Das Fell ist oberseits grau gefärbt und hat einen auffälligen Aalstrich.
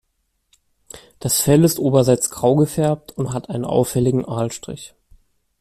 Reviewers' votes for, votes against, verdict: 2, 0, accepted